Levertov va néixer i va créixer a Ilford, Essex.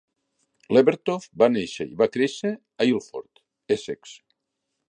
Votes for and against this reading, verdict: 2, 0, accepted